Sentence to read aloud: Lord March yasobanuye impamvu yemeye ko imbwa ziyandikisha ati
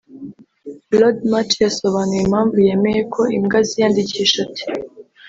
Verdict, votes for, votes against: accepted, 2, 0